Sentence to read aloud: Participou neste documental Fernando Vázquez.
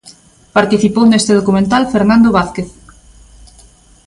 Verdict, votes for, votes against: accepted, 2, 0